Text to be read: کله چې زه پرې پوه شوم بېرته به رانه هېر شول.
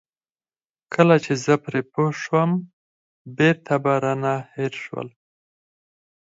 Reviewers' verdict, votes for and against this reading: accepted, 4, 2